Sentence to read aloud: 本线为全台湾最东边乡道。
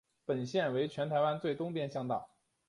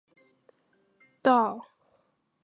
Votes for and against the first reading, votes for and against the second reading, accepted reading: 2, 1, 0, 3, first